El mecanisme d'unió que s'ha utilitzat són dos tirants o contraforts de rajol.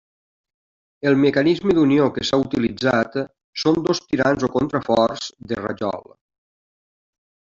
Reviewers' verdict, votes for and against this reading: rejected, 0, 2